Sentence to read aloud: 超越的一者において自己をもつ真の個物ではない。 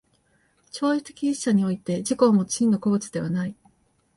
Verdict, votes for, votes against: rejected, 1, 2